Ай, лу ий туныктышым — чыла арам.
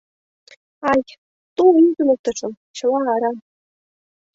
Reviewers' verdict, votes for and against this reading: rejected, 1, 2